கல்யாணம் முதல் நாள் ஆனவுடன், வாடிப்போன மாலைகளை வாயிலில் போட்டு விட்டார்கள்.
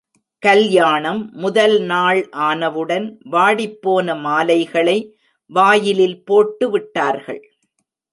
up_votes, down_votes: 2, 0